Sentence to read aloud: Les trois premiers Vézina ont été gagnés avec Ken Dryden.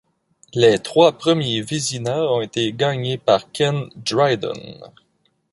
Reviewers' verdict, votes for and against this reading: rejected, 1, 2